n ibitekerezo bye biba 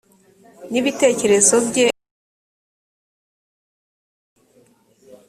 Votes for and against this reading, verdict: 0, 2, rejected